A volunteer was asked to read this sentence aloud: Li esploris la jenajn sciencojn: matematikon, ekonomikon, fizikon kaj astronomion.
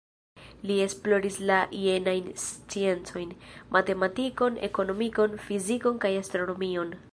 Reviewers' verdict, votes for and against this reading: rejected, 1, 2